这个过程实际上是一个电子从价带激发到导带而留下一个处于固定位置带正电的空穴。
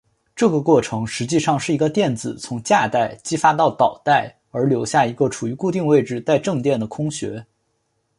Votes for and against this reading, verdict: 2, 0, accepted